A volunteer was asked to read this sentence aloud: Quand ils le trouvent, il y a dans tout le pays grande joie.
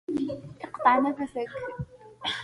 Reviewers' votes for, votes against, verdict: 1, 2, rejected